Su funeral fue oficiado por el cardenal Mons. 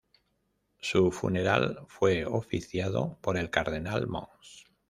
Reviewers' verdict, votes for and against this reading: accepted, 2, 0